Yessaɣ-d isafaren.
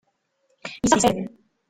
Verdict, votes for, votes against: rejected, 0, 3